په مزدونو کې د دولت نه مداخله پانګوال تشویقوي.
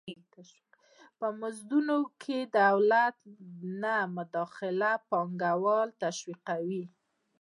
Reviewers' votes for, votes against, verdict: 2, 0, accepted